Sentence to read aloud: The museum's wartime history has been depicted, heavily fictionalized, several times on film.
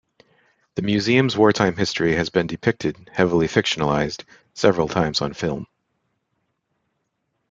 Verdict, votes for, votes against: accepted, 2, 1